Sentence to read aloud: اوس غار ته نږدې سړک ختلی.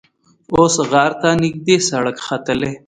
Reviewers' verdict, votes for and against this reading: rejected, 1, 2